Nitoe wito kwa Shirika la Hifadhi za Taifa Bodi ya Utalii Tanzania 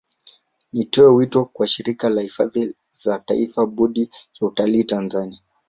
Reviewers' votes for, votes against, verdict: 0, 2, rejected